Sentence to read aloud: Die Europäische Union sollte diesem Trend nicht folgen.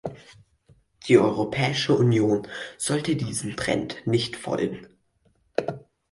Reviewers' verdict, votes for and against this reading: accepted, 4, 0